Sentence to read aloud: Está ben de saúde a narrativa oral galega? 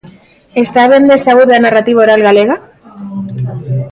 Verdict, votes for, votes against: rejected, 0, 2